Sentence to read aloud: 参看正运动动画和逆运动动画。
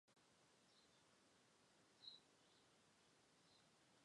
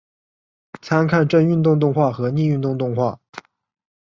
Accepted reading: second